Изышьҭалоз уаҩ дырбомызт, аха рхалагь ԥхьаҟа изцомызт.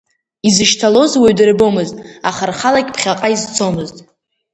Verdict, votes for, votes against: accepted, 2, 0